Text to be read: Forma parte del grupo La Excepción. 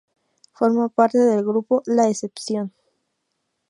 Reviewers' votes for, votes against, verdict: 0, 2, rejected